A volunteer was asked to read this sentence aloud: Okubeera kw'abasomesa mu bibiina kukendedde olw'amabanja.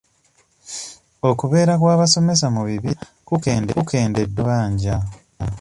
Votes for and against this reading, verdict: 0, 2, rejected